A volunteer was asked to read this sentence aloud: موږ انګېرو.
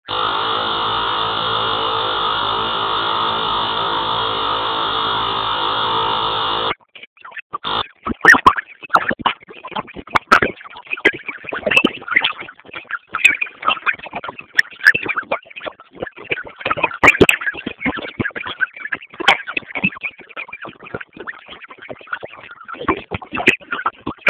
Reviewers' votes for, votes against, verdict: 0, 6, rejected